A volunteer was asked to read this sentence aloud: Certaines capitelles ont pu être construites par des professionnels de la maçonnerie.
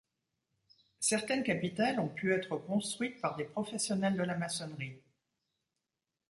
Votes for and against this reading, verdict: 2, 0, accepted